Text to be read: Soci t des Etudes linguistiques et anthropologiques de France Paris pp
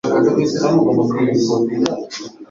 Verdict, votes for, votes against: rejected, 0, 2